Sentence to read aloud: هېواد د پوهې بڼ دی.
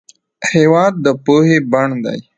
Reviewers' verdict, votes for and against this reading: rejected, 0, 2